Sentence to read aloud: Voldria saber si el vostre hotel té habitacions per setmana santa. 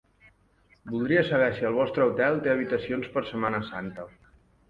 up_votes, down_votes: 2, 0